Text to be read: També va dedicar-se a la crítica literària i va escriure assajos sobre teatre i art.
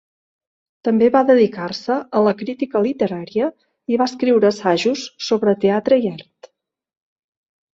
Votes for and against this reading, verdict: 2, 0, accepted